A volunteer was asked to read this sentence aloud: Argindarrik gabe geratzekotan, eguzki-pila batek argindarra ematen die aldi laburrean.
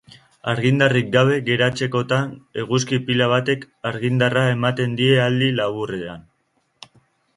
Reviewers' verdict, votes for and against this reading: accepted, 2, 1